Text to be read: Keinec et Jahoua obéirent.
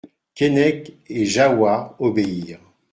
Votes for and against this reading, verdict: 2, 0, accepted